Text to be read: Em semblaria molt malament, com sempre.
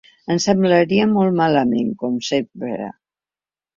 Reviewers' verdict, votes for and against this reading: accepted, 2, 0